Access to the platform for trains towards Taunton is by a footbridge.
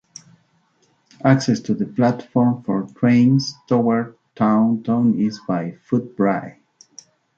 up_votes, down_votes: 0, 2